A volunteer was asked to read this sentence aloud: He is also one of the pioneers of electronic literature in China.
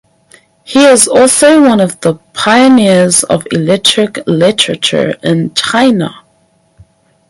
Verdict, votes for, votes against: rejected, 2, 4